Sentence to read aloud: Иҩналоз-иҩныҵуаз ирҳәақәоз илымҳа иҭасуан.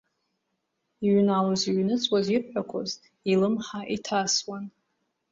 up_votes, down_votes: 2, 0